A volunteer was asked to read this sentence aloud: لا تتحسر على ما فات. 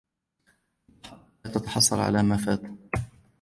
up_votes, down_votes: 2, 0